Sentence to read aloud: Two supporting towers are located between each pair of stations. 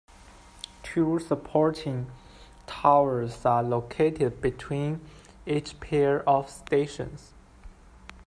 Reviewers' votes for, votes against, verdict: 1, 2, rejected